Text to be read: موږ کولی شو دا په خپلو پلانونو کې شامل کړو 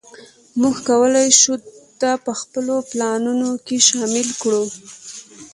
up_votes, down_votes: 0, 2